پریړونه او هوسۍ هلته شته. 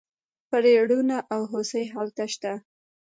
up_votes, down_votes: 0, 2